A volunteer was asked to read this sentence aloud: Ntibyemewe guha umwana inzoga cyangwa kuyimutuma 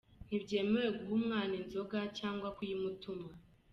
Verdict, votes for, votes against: accepted, 2, 0